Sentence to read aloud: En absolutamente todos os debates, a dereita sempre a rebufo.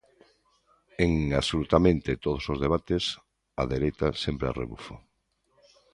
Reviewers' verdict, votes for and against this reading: accepted, 2, 0